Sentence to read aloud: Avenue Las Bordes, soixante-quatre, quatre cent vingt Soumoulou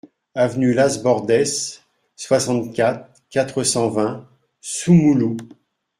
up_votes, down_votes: 2, 0